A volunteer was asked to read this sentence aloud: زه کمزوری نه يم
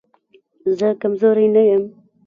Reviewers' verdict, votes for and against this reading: rejected, 1, 2